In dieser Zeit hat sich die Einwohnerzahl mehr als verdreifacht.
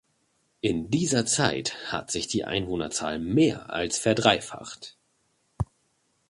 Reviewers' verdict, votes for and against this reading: accepted, 2, 0